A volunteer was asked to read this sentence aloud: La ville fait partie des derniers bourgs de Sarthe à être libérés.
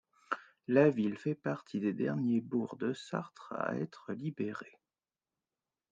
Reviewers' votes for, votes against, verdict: 2, 1, accepted